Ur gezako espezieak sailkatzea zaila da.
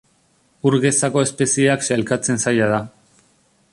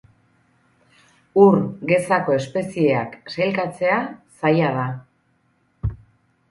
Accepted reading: second